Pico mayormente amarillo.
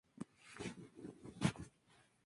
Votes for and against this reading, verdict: 0, 4, rejected